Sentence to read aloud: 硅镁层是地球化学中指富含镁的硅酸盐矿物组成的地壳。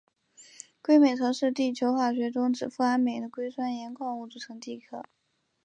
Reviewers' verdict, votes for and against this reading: accepted, 2, 0